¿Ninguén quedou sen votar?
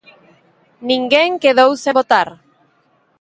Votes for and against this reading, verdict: 4, 18, rejected